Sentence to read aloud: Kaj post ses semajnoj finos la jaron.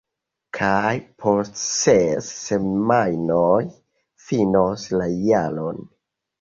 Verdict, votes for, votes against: rejected, 0, 2